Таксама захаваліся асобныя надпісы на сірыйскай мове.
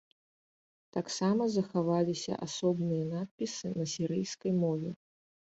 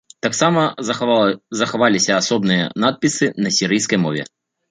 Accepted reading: first